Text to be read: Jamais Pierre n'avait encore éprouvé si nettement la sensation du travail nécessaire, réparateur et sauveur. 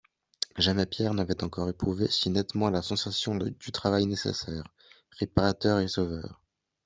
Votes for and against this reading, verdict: 2, 1, accepted